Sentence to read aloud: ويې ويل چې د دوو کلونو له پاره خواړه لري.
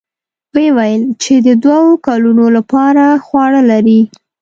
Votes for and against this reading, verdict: 2, 0, accepted